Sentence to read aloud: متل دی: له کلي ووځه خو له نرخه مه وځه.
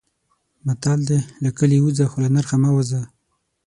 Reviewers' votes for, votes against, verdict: 6, 0, accepted